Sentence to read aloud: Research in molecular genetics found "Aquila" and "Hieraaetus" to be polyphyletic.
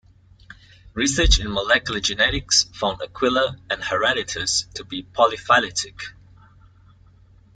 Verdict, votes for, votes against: accepted, 2, 0